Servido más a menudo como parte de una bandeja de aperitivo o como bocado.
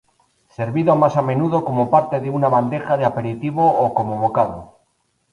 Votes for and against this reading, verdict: 2, 0, accepted